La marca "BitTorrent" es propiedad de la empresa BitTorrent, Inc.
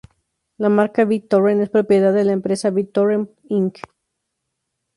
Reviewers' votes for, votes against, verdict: 2, 2, rejected